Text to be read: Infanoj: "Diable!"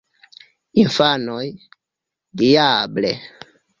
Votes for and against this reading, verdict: 2, 0, accepted